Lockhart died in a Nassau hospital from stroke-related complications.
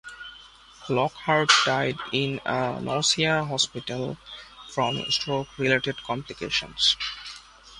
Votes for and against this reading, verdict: 1, 2, rejected